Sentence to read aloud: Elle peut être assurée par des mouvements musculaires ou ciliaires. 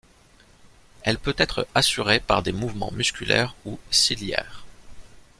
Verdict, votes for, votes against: accepted, 2, 0